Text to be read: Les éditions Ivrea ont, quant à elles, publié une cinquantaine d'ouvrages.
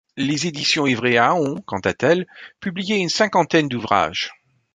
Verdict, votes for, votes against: rejected, 1, 2